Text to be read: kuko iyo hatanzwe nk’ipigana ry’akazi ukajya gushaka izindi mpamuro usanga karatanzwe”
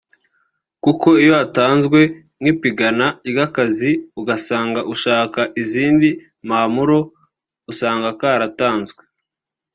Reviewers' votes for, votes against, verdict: 1, 2, rejected